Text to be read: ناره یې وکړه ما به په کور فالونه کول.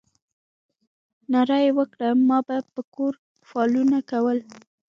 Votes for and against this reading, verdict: 0, 2, rejected